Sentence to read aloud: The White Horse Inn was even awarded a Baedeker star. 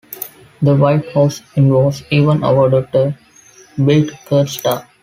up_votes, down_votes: 0, 2